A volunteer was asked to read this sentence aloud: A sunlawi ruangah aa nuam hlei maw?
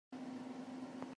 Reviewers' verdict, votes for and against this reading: rejected, 0, 2